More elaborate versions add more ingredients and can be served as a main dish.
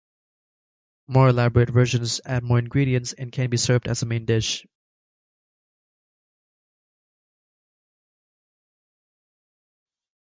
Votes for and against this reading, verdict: 2, 1, accepted